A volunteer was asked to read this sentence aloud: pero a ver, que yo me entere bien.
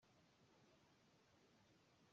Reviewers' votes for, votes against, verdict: 0, 2, rejected